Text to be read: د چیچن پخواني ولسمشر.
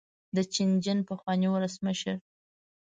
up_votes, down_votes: 1, 2